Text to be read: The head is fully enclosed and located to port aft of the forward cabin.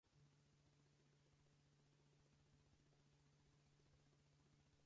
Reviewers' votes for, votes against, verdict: 2, 4, rejected